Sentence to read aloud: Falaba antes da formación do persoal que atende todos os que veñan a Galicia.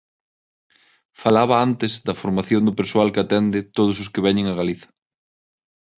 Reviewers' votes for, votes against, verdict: 0, 6, rejected